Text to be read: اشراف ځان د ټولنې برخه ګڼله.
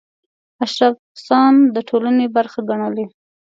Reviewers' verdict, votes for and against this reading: rejected, 1, 2